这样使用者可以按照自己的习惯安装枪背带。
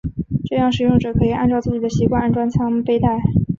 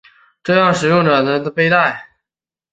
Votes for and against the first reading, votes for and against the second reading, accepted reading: 5, 0, 3, 4, first